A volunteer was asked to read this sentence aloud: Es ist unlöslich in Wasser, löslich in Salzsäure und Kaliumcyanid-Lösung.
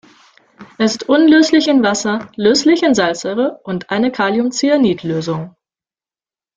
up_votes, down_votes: 0, 2